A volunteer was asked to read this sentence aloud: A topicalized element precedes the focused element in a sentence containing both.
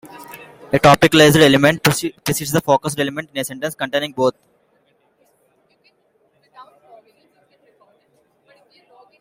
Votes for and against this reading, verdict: 1, 2, rejected